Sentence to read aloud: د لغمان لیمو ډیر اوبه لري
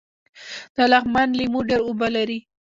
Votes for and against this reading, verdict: 0, 2, rejected